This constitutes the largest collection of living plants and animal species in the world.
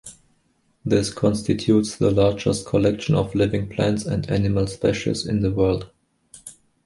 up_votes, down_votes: 1, 3